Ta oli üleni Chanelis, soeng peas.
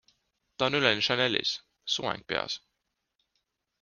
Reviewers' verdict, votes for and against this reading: accepted, 2, 1